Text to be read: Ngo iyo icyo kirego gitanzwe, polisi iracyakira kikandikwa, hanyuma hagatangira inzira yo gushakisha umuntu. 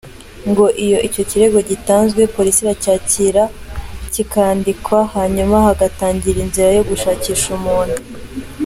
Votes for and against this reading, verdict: 2, 0, accepted